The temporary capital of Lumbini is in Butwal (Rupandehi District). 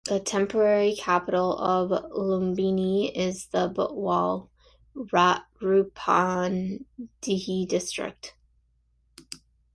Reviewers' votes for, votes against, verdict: 0, 2, rejected